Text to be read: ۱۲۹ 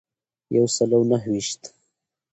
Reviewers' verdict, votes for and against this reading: rejected, 0, 2